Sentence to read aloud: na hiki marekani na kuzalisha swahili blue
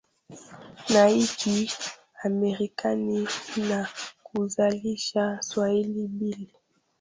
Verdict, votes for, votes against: rejected, 0, 2